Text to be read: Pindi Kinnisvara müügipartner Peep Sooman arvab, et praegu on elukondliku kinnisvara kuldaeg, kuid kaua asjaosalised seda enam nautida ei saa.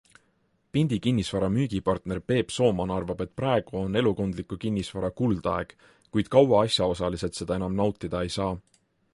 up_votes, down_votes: 2, 0